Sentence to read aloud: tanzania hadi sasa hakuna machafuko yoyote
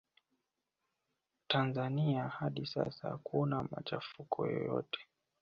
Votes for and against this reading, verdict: 2, 0, accepted